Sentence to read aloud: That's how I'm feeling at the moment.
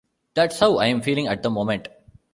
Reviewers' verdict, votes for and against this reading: rejected, 1, 2